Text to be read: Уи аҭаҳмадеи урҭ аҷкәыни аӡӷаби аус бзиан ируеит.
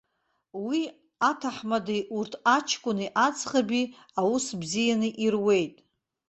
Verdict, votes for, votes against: accepted, 2, 0